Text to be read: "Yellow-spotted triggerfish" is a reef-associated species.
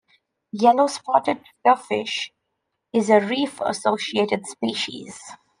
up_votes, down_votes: 0, 2